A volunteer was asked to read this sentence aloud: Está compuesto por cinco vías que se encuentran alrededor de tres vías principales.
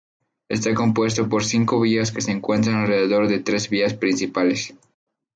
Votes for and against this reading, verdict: 0, 2, rejected